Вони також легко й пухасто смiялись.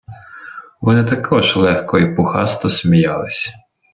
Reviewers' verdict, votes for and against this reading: accepted, 2, 0